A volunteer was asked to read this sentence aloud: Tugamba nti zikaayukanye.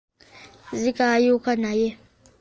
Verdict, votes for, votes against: rejected, 0, 2